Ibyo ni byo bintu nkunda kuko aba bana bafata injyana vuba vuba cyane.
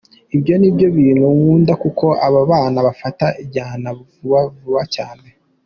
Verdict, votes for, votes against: accepted, 2, 0